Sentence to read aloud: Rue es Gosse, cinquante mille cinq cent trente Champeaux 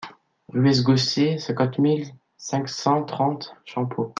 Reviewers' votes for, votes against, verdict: 1, 3, rejected